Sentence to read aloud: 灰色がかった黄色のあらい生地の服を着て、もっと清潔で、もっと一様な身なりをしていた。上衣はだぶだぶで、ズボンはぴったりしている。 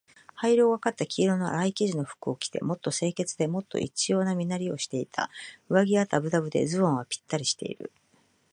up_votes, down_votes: 2, 0